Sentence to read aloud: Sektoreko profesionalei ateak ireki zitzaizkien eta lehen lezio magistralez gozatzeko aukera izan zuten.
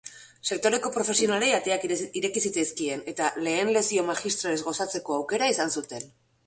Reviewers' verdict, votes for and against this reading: rejected, 0, 2